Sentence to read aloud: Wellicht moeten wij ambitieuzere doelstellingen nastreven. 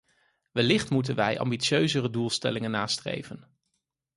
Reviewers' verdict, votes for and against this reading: accepted, 4, 0